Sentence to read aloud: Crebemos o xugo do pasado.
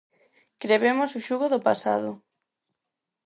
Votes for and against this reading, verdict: 4, 0, accepted